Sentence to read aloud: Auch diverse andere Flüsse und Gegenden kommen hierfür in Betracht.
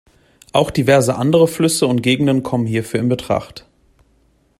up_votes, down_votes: 2, 0